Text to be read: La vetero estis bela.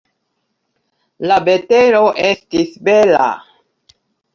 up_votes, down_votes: 2, 0